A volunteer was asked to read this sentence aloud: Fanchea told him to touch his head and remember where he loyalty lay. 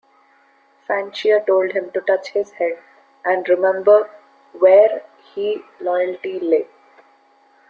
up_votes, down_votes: 2, 1